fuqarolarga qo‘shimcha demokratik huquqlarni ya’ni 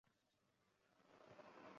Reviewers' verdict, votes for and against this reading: rejected, 0, 2